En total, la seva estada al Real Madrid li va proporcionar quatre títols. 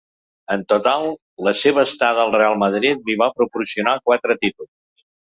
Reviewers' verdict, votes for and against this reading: rejected, 1, 2